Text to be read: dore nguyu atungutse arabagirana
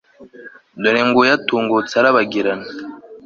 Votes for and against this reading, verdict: 2, 0, accepted